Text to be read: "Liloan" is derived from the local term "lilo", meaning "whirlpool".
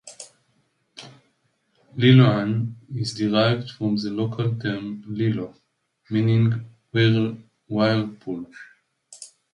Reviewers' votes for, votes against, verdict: 0, 2, rejected